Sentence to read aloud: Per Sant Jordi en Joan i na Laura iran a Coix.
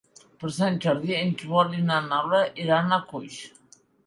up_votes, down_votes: 2, 0